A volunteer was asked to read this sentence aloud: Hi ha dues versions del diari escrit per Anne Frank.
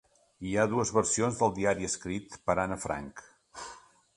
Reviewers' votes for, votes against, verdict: 3, 0, accepted